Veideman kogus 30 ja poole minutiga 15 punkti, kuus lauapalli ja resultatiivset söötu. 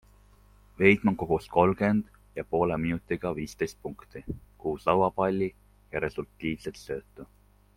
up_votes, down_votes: 0, 2